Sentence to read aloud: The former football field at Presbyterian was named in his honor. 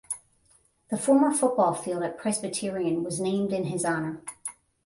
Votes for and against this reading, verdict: 5, 5, rejected